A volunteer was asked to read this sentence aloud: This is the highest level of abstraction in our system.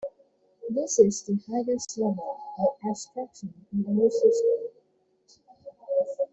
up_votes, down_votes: 0, 2